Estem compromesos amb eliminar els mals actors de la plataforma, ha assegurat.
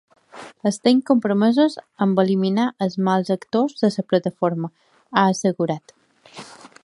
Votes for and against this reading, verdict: 3, 4, rejected